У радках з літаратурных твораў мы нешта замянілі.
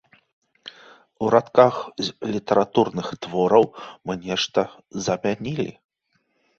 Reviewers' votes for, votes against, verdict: 2, 0, accepted